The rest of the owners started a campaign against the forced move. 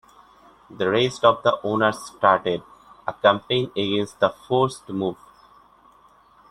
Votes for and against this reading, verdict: 1, 2, rejected